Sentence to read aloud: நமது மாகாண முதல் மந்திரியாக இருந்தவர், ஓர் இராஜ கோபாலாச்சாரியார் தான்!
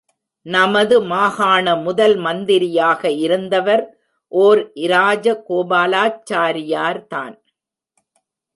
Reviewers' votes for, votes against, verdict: 0, 2, rejected